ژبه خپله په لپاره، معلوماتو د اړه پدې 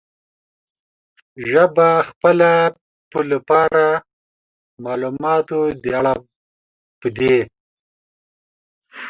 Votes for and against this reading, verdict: 2, 1, accepted